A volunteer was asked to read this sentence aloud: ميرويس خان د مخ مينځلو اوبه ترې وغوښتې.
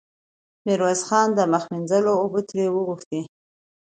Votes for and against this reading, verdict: 2, 0, accepted